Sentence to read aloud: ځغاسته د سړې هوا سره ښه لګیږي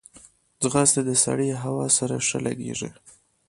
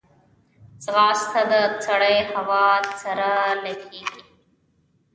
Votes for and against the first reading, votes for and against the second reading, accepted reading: 2, 0, 1, 2, first